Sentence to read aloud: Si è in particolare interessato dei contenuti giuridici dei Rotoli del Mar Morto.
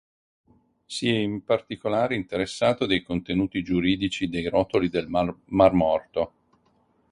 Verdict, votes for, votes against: rejected, 2, 4